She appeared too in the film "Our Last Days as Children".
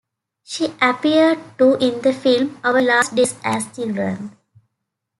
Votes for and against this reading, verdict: 2, 1, accepted